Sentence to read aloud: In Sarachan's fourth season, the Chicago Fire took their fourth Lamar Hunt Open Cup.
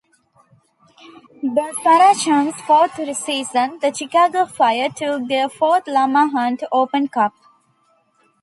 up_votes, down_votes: 1, 2